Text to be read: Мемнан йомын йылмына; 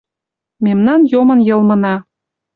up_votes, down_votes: 2, 0